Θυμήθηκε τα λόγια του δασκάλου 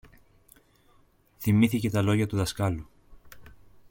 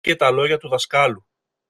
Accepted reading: first